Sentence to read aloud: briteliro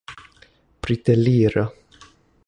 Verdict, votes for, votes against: accepted, 3, 0